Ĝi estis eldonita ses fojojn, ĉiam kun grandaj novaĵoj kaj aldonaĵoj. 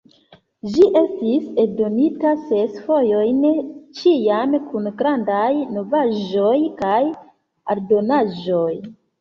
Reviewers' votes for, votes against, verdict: 2, 0, accepted